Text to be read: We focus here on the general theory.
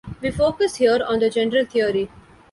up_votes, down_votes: 2, 1